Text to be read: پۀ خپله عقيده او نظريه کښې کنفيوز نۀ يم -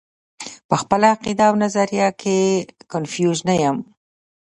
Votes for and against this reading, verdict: 2, 0, accepted